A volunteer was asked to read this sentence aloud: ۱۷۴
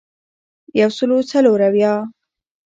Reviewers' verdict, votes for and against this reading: rejected, 0, 2